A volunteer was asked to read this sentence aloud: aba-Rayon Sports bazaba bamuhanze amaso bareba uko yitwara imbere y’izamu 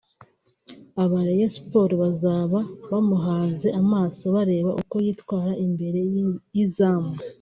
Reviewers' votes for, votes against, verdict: 2, 0, accepted